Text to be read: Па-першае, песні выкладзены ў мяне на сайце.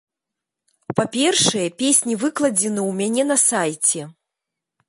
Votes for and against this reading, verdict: 2, 0, accepted